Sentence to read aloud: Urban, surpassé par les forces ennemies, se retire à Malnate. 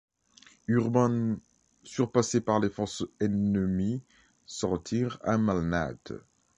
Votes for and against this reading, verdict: 0, 2, rejected